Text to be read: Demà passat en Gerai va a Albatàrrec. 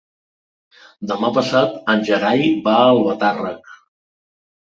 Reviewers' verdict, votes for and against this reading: accepted, 2, 0